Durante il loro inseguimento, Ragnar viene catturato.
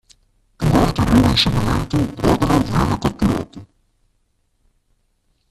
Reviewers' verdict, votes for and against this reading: rejected, 0, 2